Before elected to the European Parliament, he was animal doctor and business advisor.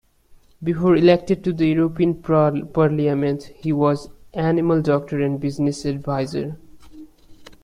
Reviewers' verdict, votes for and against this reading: rejected, 1, 2